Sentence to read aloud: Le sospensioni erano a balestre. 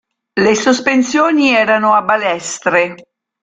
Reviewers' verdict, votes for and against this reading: accepted, 4, 0